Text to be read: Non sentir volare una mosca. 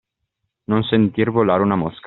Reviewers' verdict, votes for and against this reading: accepted, 2, 0